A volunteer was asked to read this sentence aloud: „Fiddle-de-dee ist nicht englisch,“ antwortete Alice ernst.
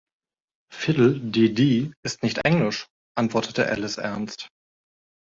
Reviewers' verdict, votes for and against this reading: accepted, 2, 0